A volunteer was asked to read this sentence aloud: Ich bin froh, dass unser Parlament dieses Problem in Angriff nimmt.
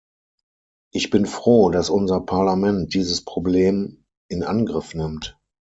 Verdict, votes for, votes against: accepted, 6, 0